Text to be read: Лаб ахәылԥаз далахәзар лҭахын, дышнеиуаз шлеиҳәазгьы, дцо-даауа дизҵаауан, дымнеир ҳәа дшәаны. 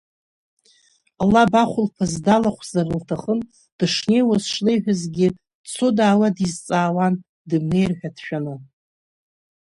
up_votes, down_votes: 5, 1